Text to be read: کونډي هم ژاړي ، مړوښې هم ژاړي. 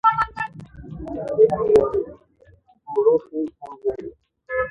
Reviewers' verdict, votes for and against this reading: rejected, 0, 2